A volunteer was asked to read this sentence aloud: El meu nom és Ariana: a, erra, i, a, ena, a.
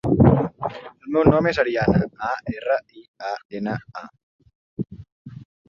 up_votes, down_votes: 1, 2